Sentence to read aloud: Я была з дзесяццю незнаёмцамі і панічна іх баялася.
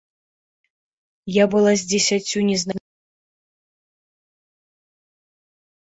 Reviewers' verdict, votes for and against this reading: rejected, 1, 2